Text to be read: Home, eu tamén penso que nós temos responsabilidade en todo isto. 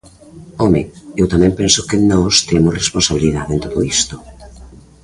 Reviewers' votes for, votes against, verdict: 2, 1, accepted